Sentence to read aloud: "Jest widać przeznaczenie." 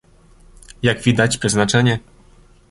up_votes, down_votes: 0, 2